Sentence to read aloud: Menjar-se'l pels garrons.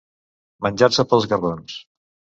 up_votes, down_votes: 1, 2